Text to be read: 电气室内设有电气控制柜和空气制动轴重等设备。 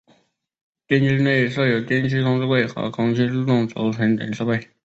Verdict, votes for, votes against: rejected, 0, 3